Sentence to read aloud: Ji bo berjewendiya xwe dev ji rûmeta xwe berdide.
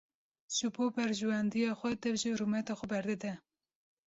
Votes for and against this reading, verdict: 2, 0, accepted